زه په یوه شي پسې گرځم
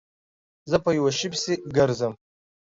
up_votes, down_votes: 2, 0